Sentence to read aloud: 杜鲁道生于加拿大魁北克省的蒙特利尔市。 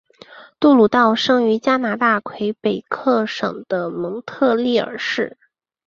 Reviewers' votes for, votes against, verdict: 5, 0, accepted